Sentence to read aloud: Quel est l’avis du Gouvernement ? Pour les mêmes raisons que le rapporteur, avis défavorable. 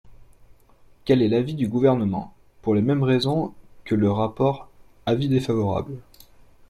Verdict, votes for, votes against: rejected, 0, 2